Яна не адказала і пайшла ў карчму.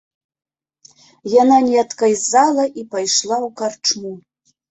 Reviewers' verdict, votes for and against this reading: rejected, 0, 2